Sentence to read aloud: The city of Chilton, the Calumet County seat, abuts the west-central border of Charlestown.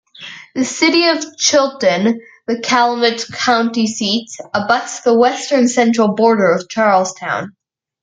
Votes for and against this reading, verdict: 0, 2, rejected